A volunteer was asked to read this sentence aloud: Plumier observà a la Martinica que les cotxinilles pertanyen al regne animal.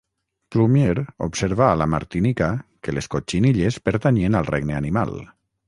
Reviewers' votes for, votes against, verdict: 3, 3, rejected